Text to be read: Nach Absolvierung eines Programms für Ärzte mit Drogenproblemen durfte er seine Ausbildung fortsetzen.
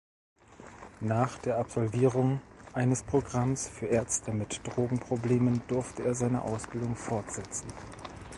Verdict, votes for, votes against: rejected, 0, 2